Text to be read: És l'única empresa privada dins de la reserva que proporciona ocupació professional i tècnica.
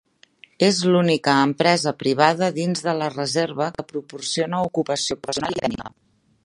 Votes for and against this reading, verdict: 0, 2, rejected